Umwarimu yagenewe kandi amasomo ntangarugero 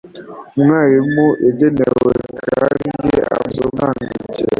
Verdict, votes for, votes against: rejected, 1, 2